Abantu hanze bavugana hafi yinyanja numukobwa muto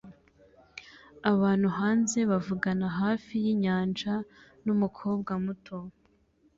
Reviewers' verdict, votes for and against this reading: accepted, 2, 1